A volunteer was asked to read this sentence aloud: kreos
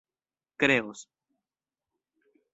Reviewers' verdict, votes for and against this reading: accepted, 2, 0